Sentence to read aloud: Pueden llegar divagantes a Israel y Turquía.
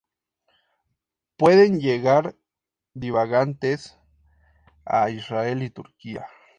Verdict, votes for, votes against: accepted, 2, 0